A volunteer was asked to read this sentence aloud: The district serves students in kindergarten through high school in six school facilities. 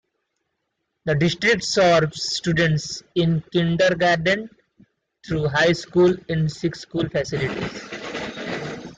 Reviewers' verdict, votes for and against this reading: accepted, 2, 0